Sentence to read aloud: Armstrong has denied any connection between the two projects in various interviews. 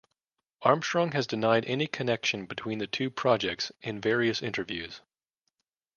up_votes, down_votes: 2, 0